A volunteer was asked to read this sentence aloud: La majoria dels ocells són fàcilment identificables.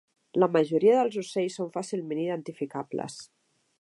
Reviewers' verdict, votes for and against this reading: accepted, 2, 0